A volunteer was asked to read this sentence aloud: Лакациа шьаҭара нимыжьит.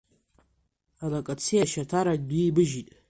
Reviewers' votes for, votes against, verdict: 1, 2, rejected